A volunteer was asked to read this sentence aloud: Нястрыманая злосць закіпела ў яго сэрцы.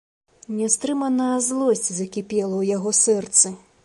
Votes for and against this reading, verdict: 2, 0, accepted